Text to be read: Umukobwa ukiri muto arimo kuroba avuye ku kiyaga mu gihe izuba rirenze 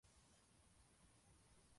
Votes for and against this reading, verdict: 0, 2, rejected